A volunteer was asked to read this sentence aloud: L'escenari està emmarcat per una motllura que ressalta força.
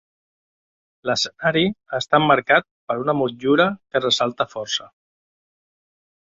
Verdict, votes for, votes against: accepted, 4, 0